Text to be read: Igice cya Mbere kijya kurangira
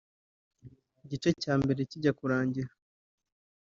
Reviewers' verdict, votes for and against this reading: accepted, 3, 1